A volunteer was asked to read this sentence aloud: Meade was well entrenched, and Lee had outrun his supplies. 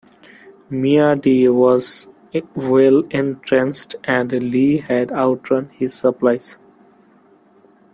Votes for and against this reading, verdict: 1, 2, rejected